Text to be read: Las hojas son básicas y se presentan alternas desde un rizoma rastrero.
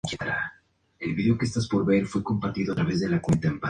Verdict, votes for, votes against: rejected, 0, 2